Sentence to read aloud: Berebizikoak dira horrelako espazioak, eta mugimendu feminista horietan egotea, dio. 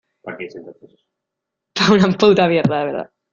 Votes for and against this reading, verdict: 0, 2, rejected